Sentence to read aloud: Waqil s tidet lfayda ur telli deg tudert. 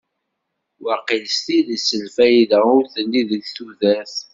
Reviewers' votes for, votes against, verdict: 2, 0, accepted